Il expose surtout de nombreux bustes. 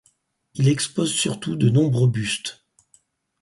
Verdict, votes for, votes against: accepted, 4, 0